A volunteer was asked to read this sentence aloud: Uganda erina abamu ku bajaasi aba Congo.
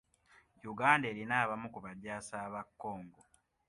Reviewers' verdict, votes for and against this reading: accepted, 2, 0